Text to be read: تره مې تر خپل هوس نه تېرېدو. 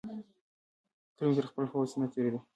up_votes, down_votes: 2, 1